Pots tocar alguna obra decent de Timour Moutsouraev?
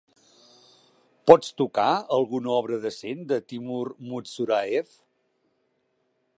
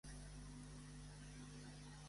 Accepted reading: first